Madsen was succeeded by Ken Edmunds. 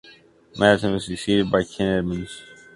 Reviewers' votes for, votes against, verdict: 1, 2, rejected